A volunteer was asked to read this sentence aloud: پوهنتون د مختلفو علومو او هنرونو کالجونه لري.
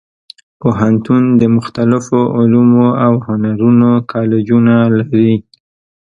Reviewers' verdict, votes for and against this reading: accepted, 3, 0